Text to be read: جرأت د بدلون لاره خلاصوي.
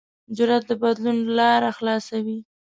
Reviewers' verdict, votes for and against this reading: accepted, 2, 0